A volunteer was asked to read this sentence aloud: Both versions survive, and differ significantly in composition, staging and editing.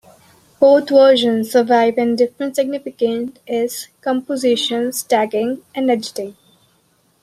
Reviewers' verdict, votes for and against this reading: rejected, 0, 2